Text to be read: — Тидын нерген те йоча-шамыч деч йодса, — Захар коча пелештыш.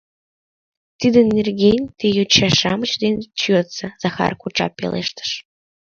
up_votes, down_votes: 1, 2